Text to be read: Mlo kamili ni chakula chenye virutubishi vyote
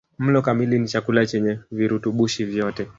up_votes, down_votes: 1, 2